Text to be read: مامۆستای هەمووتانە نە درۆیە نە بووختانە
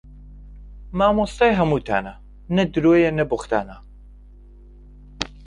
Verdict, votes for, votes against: accepted, 2, 0